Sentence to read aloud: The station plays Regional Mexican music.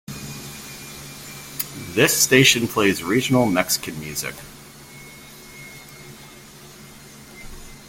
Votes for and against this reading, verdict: 1, 2, rejected